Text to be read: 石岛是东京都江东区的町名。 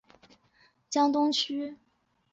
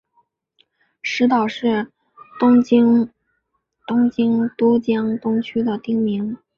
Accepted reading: second